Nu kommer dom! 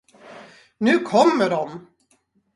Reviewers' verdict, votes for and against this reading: accepted, 4, 0